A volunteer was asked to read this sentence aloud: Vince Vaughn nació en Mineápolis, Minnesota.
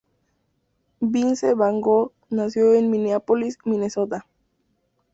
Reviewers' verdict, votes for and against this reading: accepted, 2, 0